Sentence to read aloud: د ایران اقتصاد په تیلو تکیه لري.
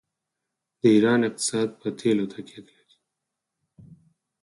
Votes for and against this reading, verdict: 2, 4, rejected